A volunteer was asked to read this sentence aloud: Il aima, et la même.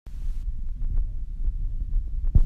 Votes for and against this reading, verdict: 0, 2, rejected